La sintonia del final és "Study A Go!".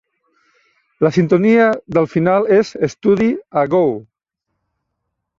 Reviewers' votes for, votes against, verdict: 1, 2, rejected